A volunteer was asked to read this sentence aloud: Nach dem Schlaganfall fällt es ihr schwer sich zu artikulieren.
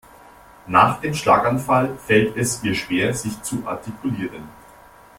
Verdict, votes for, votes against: accepted, 2, 0